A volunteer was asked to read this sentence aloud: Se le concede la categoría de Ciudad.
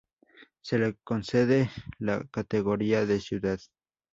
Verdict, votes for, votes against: accepted, 2, 0